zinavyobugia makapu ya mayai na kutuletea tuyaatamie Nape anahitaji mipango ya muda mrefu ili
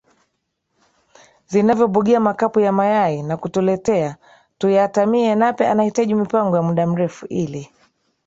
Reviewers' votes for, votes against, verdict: 3, 1, accepted